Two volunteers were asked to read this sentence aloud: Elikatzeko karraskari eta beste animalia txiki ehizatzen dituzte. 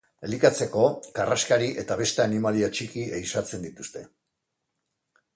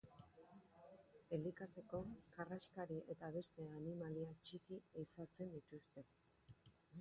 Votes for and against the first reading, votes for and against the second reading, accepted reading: 2, 0, 1, 2, first